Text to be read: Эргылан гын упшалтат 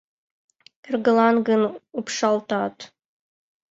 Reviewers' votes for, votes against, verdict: 2, 0, accepted